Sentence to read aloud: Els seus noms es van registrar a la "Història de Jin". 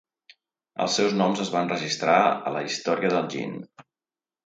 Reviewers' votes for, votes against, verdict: 1, 3, rejected